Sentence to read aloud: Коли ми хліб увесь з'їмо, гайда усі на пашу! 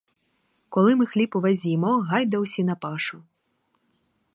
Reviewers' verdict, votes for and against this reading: accepted, 4, 0